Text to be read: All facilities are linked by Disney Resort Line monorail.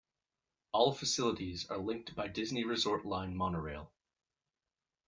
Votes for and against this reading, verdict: 2, 0, accepted